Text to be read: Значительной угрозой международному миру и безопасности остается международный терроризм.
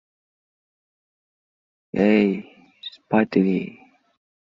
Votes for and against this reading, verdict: 0, 2, rejected